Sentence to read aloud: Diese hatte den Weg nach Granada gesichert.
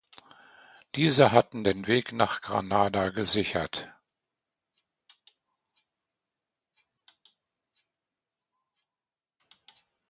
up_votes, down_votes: 0, 2